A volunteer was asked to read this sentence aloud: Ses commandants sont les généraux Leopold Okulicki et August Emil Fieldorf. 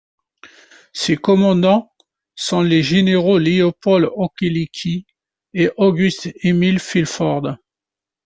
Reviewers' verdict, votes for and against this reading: rejected, 0, 2